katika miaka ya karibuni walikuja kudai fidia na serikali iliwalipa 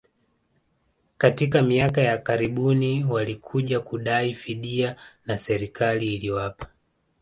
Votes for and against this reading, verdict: 2, 0, accepted